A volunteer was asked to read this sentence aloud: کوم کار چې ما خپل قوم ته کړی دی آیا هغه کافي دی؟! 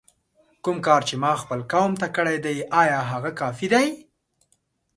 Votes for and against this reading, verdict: 2, 0, accepted